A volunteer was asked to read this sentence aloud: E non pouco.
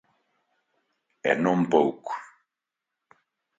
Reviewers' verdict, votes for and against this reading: accepted, 2, 0